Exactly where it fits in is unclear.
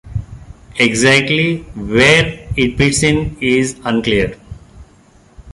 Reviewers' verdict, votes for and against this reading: rejected, 1, 2